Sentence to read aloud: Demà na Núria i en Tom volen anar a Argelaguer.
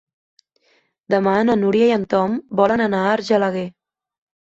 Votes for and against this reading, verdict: 3, 0, accepted